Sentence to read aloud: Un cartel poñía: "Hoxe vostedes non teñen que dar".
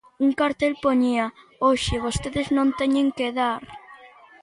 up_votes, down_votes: 2, 0